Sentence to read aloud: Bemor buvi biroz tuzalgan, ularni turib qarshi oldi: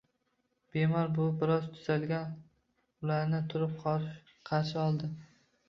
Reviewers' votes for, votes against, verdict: 1, 2, rejected